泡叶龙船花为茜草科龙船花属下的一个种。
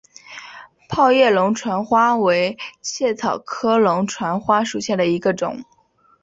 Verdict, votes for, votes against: accepted, 2, 0